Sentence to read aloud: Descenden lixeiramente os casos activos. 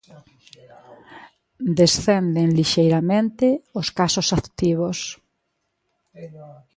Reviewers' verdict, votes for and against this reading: rejected, 1, 2